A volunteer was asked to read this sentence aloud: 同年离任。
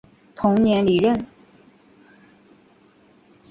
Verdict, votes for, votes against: accepted, 2, 0